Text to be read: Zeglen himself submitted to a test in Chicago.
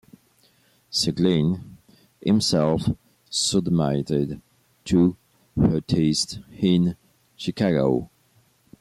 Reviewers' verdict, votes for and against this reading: rejected, 0, 2